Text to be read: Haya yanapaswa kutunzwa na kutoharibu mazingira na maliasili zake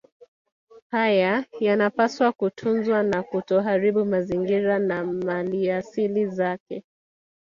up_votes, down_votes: 3, 1